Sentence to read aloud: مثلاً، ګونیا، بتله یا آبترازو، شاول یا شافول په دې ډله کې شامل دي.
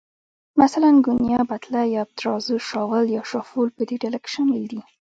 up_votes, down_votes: 1, 2